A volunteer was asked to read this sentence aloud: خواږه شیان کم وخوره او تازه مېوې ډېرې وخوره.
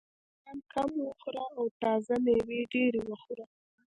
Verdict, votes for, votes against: rejected, 1, 2